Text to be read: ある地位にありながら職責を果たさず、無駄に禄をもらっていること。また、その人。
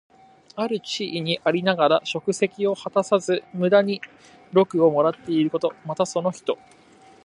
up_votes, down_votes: 2, 0